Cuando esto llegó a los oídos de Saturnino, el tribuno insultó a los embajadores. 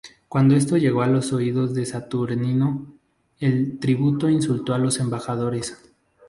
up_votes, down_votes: 0, 4